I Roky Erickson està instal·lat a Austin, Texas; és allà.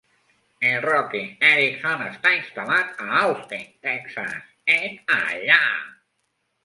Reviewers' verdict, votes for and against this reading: rejected, 1, 2